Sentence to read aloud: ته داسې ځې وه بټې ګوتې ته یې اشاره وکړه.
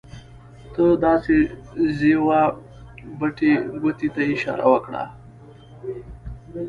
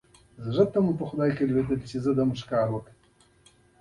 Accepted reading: first